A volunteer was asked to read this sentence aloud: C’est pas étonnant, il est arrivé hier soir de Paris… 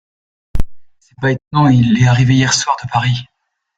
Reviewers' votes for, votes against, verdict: 0, 2, rejected